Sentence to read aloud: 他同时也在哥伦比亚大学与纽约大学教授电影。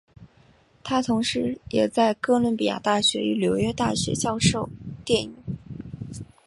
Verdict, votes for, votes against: accepted, 2, 0